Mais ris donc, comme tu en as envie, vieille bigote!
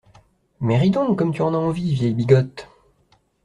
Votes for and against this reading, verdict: 2, 0, accepted